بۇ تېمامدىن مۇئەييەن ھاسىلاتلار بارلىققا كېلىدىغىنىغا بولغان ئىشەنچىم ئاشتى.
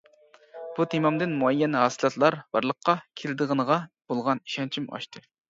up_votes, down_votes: 2, 0